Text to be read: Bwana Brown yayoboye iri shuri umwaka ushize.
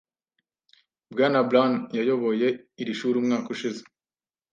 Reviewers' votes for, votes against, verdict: 2, 0, accepted